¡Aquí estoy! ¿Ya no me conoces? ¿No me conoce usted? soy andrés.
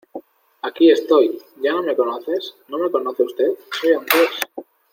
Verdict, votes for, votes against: accepted, 2, 0